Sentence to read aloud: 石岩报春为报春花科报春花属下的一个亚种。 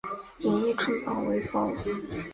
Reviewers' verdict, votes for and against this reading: rejected, 1, 5